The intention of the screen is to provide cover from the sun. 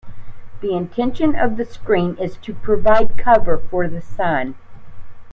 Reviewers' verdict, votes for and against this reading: rejected, 0, 2